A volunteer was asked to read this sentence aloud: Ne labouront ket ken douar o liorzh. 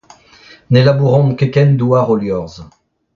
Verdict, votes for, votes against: rejected, 0, 2